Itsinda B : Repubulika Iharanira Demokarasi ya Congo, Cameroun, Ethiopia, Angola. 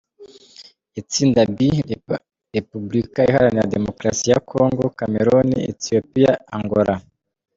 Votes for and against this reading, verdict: 1, 2, rejected